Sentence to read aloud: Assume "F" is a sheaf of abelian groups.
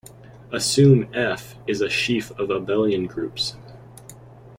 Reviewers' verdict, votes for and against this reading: accepted, 2, 0